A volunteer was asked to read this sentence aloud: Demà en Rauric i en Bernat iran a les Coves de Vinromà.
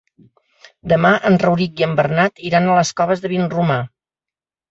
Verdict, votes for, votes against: accepted, 2, 0